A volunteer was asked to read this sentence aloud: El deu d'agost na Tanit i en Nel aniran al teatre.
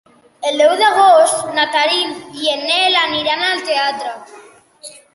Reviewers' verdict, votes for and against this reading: accepted, 2, 1